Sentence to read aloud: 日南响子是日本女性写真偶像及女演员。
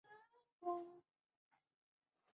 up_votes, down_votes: 2, 1